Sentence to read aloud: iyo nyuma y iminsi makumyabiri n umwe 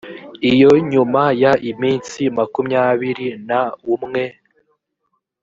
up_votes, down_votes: 0, 2